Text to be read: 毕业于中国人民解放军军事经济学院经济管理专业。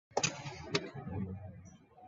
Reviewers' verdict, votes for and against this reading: rejected, 1, 2